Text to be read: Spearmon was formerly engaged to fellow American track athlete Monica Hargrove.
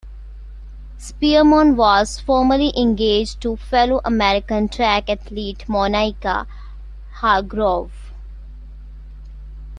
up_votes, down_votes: 1, 2